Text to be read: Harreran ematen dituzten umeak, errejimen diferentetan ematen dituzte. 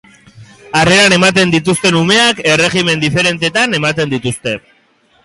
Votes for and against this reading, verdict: 0, 2, rejected